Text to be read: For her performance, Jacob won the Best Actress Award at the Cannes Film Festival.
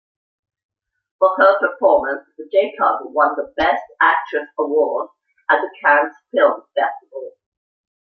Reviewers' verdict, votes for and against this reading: rejected, 1, 2